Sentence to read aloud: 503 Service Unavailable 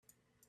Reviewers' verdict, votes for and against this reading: rejected, 0, 2